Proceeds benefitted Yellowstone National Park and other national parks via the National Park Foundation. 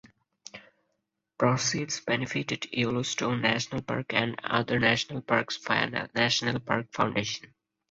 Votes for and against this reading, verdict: 2, 4, rejected